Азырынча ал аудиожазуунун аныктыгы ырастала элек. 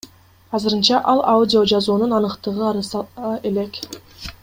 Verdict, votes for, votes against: accepted, 3, 2